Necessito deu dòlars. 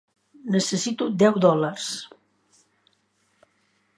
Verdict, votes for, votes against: accepted, 3, 0